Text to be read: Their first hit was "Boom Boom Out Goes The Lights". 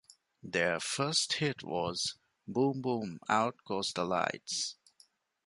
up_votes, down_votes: 2, 0